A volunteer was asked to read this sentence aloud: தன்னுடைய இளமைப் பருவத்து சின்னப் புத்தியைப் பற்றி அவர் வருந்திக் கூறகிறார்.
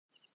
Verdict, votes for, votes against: rejected, 0, 2